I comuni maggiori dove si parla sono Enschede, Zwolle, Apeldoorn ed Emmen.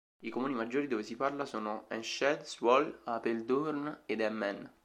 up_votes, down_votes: 2, 0